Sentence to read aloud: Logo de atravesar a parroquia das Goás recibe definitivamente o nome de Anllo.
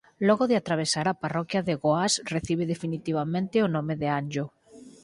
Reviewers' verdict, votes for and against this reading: rejected, 0, 4